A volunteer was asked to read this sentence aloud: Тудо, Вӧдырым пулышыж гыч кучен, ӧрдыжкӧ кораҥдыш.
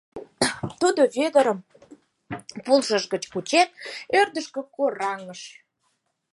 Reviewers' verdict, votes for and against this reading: rejected, 0, 4